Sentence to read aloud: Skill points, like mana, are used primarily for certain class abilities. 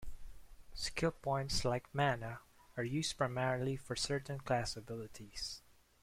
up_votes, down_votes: 2, 0